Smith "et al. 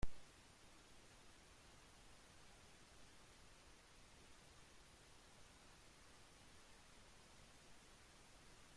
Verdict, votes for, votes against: rejected, 0, 2